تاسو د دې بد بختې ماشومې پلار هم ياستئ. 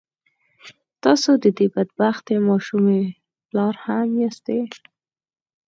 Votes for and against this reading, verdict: 4, 0, accepted